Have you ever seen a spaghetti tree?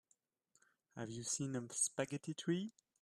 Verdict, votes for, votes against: rejected, 0, 3